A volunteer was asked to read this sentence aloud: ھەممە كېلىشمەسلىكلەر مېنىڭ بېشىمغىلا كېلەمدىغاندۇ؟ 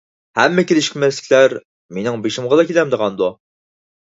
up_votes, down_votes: 4, 0